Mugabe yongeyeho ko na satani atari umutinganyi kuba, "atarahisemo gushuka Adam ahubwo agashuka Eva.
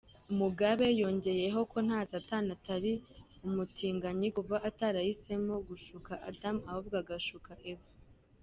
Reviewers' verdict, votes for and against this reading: accepted, 2, 1